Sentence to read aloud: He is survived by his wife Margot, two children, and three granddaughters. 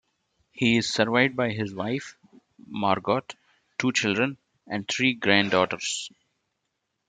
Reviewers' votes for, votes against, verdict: 0, 2, rejected